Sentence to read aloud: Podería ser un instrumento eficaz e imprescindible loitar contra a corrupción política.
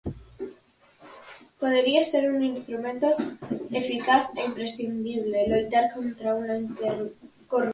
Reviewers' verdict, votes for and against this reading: rejected, 0, 4